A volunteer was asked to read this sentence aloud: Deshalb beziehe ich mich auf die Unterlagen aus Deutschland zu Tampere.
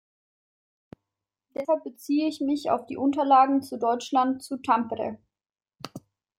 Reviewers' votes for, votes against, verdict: 0, 2, rejected